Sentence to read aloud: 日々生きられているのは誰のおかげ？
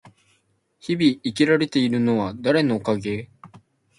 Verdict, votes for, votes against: accepted, 2, 0